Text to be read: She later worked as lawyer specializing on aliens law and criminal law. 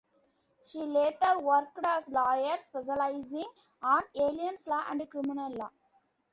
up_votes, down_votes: 0, 2